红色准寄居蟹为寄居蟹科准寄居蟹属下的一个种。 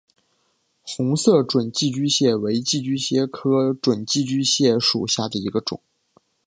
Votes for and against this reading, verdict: 4, 1, accepted